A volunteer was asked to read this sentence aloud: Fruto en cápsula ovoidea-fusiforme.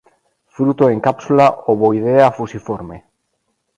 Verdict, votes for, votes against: accepted, 2, 0